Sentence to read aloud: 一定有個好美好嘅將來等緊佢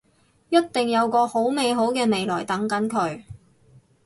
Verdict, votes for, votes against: rejected, 0, 4